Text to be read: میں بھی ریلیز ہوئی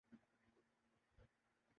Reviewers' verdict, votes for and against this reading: rejected, 0, 2